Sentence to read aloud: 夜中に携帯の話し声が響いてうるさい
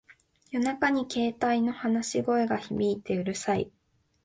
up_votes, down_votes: 2, 0